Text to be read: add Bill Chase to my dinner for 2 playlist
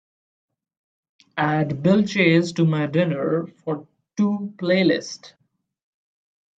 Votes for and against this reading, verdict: 0, 2, rejected